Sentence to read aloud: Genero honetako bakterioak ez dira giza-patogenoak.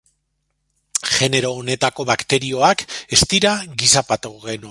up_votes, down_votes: 1, 2